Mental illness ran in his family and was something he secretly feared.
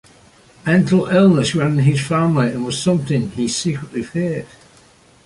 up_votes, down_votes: 2, 0